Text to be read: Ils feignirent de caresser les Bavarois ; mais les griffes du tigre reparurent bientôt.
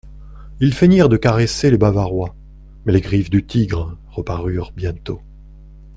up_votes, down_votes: 2, 0